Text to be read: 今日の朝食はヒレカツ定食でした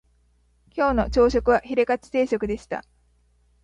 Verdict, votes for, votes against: accepted, 2, 0